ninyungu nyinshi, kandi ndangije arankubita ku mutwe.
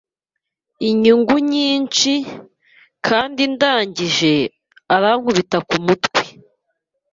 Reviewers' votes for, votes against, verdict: 1, 2, rejected